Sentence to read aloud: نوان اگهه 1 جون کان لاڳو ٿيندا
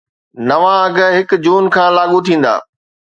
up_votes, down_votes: 0, 2